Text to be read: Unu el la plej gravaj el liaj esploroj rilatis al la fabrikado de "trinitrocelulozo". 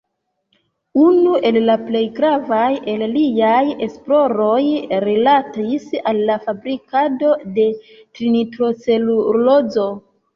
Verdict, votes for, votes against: rejected, 1, 2